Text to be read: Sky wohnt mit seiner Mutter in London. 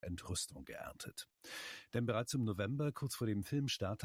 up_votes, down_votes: 0, 2